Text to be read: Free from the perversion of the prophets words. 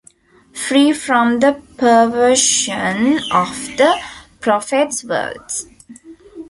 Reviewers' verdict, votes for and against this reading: rejected, 0, 2